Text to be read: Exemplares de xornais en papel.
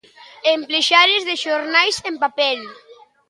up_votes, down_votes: 0, 2